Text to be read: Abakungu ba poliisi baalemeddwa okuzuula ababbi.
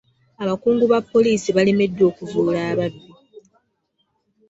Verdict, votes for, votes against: rejected, 0, 2